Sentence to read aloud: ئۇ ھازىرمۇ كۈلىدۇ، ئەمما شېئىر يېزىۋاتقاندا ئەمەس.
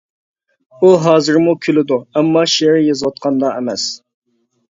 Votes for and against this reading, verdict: 2, 0, accepted